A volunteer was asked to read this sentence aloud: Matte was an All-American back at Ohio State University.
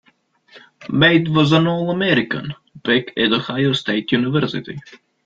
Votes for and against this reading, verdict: 2, 1, accepted